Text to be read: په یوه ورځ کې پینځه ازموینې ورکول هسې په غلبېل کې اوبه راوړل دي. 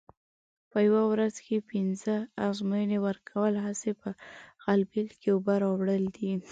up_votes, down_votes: 2, 0